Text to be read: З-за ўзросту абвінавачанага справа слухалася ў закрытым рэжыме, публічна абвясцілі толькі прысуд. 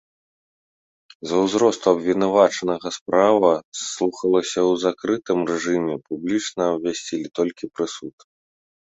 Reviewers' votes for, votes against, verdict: 2, 0, accepted